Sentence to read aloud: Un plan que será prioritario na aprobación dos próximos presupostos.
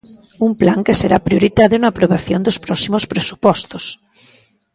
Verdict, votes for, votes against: rejected, 0, 2